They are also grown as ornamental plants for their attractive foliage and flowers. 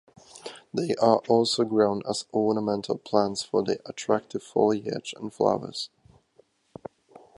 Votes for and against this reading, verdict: 2, 0, accepted